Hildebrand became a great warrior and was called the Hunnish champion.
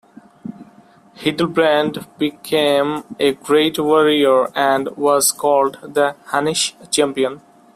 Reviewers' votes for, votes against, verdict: 2, 0, accepted